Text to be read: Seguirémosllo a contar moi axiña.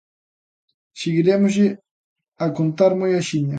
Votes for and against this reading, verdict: 0, 2, rejected